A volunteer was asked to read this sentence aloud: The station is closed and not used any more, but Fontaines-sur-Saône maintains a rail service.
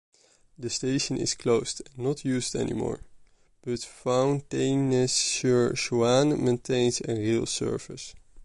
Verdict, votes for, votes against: rejected, 1, 2